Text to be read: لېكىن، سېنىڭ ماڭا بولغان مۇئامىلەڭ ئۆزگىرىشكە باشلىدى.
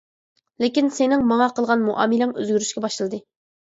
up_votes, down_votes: 1, 2